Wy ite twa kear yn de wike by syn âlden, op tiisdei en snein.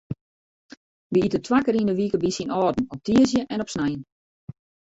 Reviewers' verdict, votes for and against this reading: rejected, 0, 2